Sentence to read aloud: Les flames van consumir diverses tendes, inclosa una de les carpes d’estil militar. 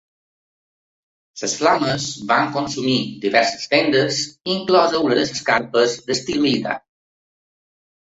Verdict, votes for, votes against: rejected, 0, 2